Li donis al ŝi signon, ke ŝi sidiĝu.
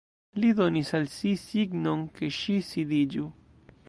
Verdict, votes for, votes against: rejected, 1, 2